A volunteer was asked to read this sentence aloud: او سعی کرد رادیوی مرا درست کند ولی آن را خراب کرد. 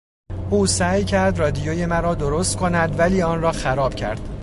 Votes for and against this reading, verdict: 2, 0, accepted